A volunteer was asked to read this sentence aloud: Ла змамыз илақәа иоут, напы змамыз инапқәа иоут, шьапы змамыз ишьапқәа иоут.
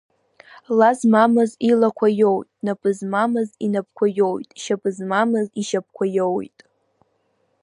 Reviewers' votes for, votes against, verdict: 1, 2, rejected